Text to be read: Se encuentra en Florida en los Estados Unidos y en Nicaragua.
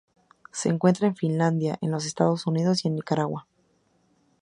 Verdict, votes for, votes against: rejected, 0, 2